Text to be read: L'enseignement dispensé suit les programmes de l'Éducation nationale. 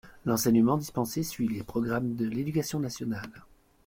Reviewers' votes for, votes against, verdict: 2, 0, accepted